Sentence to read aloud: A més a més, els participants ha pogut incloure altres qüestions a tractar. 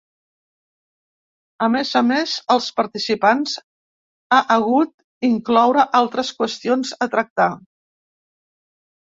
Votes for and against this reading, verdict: 0, 2, rejected